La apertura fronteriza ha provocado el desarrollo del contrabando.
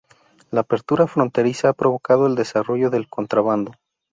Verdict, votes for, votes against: accepted, 4, 0